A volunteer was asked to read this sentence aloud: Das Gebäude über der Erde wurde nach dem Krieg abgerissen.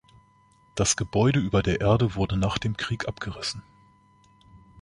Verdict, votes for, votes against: accepted, 2, 0